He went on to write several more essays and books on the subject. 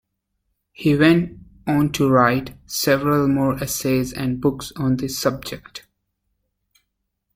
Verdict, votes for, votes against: accepted, 2, 0